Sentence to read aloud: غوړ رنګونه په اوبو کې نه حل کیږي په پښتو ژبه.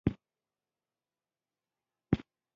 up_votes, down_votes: 0, 2